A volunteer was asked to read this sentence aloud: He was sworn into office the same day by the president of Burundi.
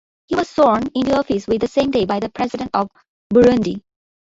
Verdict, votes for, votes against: rejected, 1, 2